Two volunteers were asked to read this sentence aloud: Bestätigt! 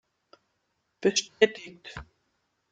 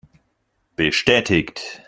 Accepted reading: second